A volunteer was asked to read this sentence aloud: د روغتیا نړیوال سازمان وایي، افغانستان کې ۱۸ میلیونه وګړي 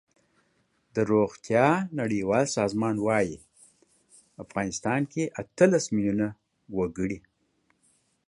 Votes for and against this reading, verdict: 0, 2, rejected